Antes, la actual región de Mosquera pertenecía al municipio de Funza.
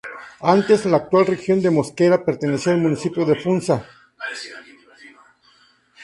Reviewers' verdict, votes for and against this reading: accepted, 2, 0